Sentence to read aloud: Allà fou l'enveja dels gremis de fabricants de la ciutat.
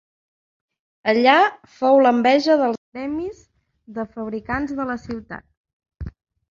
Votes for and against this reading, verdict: 2, 1, accepted